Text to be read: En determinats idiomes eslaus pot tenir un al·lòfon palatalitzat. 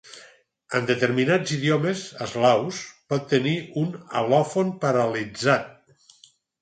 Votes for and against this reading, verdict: 2, 4, rejected